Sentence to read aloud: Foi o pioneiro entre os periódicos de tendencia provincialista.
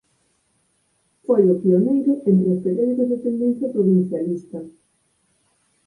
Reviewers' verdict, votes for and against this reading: accepted, 6, 2